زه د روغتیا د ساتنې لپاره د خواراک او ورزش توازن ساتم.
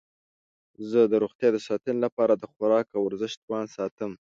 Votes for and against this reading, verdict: 1, 2, rejected